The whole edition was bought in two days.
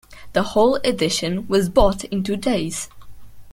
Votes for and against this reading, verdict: 2, 0, accepted